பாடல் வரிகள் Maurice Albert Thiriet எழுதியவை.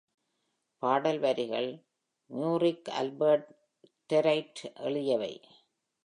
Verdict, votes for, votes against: accepted, 2, 0